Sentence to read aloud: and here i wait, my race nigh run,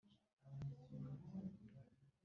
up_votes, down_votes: 2, 3